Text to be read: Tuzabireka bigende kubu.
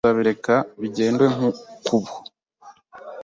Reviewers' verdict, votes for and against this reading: rejected, 1, 2